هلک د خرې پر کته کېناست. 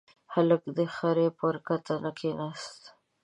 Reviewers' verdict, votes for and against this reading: rejected, 0, 2